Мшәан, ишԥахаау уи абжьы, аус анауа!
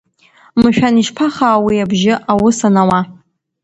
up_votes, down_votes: 2, 0